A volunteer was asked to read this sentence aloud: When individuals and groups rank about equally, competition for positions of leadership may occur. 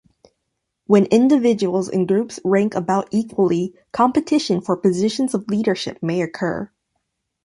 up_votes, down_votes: 2, 0